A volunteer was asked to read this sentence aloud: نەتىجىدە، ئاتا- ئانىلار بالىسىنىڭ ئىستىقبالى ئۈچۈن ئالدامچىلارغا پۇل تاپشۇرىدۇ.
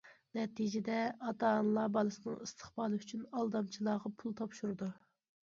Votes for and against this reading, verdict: 2, 1, accepted